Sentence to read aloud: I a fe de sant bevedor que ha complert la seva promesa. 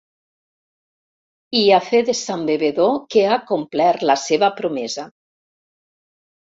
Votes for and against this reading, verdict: 4, 0, accepted